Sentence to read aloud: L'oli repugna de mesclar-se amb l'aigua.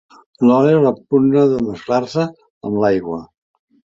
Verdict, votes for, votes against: accepted, 2, 1